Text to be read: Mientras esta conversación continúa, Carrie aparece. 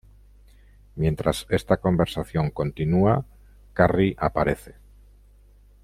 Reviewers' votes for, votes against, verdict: 2, 0, accepted